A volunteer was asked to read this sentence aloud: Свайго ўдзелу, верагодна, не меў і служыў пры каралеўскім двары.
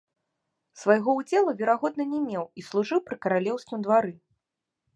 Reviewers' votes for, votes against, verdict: 2, 0, accepted